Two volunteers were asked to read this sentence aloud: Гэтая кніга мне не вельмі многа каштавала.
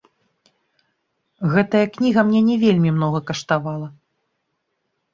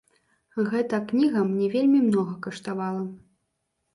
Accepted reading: first